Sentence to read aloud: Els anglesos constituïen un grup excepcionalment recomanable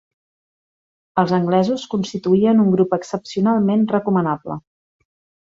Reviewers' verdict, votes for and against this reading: accepted, 2, 0